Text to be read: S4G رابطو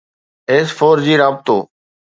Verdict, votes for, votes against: rejected, 0, 2